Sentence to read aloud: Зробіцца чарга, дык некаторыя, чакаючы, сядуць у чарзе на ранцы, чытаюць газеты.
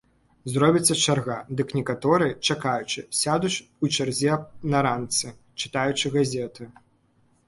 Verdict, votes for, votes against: rejected, 0, 2